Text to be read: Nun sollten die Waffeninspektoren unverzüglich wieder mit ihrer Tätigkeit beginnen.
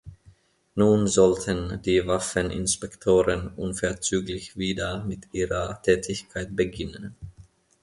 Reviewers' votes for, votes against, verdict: 2, 0, accepted